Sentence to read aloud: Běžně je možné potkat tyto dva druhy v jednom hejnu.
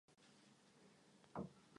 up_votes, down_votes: 0, 2